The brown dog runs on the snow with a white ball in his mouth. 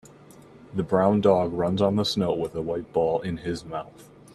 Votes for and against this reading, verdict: 2, 1, accepted